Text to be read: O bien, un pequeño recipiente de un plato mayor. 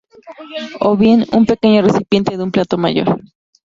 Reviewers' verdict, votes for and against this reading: rejected, 0, 2